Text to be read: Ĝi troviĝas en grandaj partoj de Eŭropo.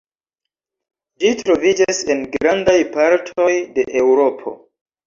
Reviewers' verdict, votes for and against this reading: accepted, 2, 0